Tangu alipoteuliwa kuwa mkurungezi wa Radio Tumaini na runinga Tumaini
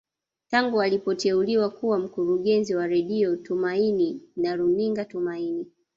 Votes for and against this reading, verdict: 0, 2, rejected